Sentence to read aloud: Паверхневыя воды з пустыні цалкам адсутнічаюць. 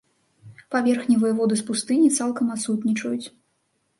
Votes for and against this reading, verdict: 4, 0, accepted